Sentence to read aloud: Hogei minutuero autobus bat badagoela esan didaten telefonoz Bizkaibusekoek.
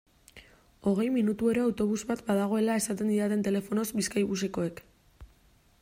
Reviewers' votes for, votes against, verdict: 0, 2, rejected